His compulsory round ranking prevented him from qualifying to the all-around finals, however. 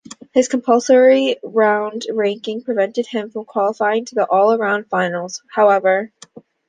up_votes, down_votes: 2, 0